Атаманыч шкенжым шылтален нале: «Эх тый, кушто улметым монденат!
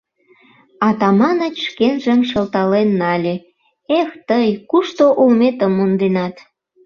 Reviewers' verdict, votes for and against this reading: accepted, 2, 0